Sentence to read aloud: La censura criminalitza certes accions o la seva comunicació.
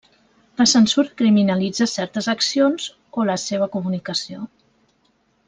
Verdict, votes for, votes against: rejected, 0, 2